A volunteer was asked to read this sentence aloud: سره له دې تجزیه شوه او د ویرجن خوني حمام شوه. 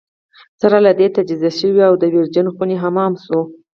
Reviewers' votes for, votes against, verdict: 0, 4, rejected